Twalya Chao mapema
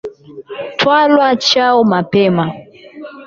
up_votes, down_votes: 8, 12